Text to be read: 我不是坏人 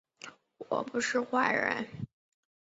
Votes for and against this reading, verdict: 2, 0, accepted